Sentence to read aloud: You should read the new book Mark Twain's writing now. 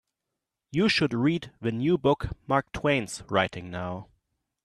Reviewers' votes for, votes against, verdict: 2, 0, accepted